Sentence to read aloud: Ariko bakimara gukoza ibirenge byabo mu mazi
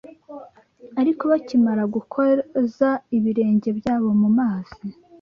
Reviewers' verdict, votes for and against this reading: rejected, 0, 2